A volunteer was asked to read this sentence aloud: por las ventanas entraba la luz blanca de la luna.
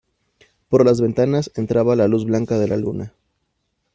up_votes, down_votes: 2, 0